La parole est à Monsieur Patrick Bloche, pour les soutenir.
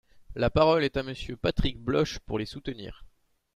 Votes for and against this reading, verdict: 2, 0, accepted